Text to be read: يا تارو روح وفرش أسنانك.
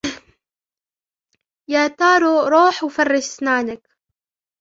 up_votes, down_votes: 1, 2